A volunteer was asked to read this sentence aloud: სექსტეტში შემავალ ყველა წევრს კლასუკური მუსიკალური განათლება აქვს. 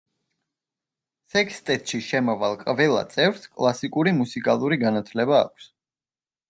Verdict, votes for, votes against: rejected, 0, 2